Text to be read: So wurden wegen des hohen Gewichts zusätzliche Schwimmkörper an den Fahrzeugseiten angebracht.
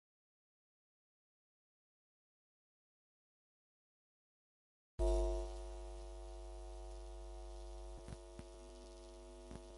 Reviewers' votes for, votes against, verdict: 0, 2, rejected